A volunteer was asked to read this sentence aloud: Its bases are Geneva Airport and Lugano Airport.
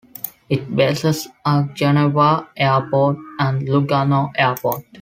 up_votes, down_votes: 1, 2